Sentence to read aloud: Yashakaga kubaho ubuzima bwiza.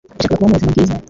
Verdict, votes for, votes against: rejected, 1, 2